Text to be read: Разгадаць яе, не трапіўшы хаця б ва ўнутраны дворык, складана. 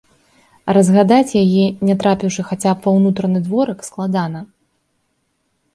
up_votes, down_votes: 2, 0